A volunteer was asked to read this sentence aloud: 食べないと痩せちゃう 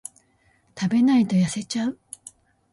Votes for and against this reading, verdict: 2, 0, accepted